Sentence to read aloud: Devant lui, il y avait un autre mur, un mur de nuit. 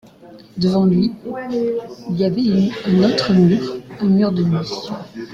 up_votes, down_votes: 2, 1